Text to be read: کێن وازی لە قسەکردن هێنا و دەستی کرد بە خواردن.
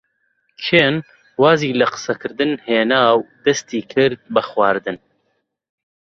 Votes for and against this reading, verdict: 2, 0, accepted